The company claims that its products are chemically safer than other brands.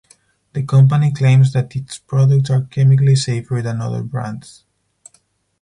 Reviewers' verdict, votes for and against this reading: rejected, 2, 2